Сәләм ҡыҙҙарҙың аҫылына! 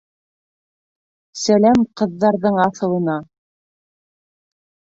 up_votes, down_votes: 2, 1